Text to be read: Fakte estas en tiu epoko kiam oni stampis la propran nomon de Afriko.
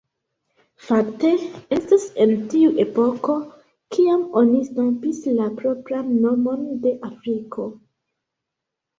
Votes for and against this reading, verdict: 1, 2, rejected